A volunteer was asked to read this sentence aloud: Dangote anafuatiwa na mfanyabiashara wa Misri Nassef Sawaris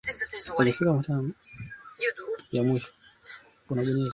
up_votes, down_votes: 1, 2